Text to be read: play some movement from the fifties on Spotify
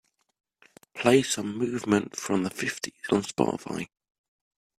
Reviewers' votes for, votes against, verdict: 2, 0, accepted